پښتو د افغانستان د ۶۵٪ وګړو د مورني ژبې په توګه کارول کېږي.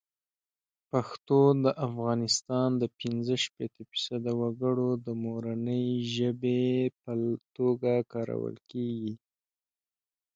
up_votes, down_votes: 0, 2